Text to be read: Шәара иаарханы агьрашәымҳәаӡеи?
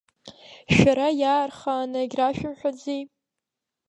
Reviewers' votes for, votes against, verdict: 0, 2, rejected